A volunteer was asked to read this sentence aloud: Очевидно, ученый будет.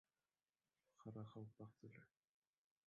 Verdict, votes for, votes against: rejected, 0, 2